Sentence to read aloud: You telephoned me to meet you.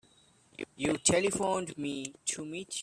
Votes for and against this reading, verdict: 0, 2, rejected